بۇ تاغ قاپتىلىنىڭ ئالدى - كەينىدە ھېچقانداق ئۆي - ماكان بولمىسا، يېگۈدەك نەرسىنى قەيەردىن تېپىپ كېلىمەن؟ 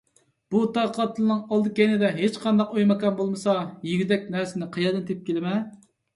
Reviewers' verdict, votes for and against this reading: accepted, 2, 0